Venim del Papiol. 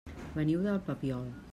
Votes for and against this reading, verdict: 0, 2, rejected